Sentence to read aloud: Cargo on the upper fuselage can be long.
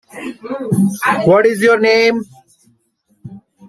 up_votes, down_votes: 0, 2